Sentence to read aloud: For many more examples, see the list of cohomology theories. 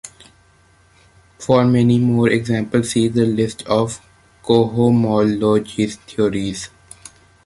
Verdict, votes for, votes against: accepted, 2, 0